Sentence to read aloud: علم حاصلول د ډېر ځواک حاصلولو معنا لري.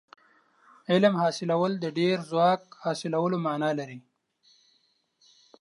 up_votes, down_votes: 2, 0